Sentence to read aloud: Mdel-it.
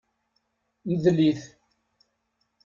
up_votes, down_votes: 2, 0